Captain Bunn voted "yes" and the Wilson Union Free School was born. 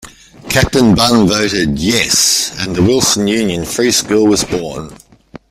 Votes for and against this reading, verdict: 2, 1, accepted